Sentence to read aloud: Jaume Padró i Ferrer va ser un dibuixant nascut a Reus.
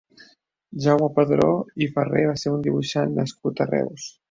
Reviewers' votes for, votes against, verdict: 0, 2, rejected